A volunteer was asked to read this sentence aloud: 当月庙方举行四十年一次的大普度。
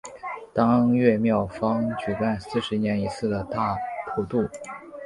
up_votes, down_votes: 3, 1